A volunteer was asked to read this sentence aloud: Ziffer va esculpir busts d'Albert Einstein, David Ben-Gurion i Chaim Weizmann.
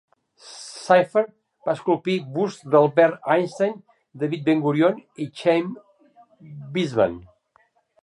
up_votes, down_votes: 0, 2